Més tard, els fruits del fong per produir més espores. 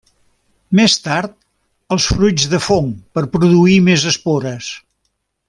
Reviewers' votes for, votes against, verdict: 0, 2, rejected